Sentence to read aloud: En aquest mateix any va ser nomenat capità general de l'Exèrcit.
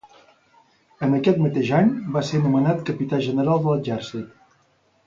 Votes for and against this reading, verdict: 2, 0, accepted